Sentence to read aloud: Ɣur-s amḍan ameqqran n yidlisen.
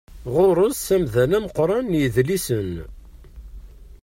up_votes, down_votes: 0, 2